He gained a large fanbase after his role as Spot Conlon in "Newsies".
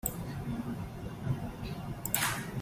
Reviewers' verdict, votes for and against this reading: rejected, 0, 2